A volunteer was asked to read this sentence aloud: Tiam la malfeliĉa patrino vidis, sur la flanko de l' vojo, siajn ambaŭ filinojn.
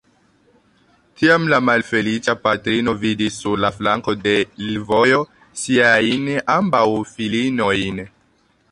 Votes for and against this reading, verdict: 0, 2, rejected